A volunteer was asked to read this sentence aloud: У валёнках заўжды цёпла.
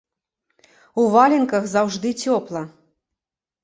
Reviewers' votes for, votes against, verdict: 0, 2, rejected